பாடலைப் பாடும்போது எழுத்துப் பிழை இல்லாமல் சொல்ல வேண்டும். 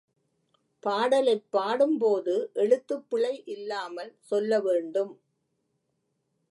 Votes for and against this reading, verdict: 2, 0, accepted